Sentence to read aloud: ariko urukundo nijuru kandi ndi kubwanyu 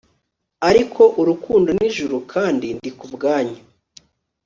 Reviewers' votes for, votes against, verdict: 2, 0, accepted